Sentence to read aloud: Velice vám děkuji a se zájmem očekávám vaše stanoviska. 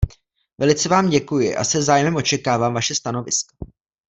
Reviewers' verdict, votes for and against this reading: rejected, 1, 2